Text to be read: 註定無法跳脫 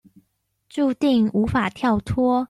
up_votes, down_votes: 2, 0